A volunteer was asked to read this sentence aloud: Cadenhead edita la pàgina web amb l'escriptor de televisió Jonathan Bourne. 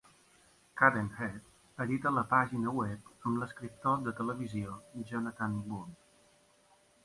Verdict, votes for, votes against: accepted, 2, 0